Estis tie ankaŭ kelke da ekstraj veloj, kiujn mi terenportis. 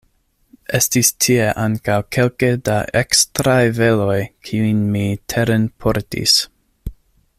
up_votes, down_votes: 2, 0